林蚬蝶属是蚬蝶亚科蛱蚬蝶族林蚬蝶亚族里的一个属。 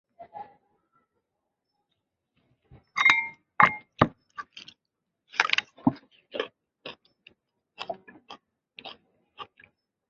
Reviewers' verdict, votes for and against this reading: rejected, 0, 2